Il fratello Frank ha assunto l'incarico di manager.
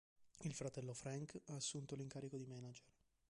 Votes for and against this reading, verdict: 0, 2, rejected